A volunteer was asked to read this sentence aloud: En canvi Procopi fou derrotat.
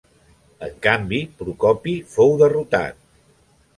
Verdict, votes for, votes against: accepted, 3, 0